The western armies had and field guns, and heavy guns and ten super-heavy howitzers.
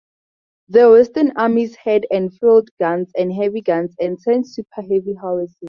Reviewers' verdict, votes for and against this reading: rejected, 2, 2